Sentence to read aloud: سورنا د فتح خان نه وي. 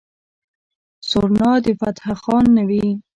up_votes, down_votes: 2, 1